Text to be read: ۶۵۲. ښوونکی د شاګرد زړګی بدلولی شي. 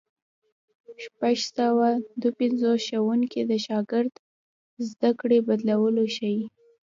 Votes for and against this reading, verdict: 0, 2, rejected